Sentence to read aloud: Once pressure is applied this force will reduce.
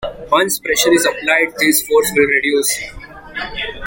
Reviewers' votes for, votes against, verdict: 3, 1, accepted